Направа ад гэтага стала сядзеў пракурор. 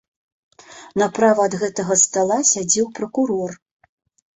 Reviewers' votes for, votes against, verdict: 2, 0, accepted